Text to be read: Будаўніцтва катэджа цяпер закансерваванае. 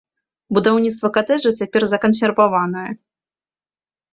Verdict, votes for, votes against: accepted, 2, 0